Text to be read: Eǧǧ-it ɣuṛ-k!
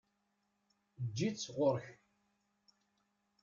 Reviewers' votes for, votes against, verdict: 1, 2, rejected